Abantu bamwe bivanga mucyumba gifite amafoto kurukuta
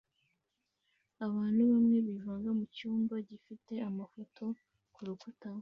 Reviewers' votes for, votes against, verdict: 2, 0, accepted